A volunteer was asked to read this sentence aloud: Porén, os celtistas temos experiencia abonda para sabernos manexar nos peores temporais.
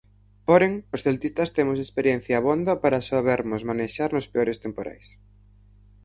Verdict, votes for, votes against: rejected, 0, 4